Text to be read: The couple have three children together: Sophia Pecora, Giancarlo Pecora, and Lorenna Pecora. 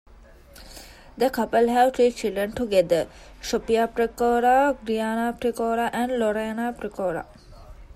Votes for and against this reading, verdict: 1, 2, rejected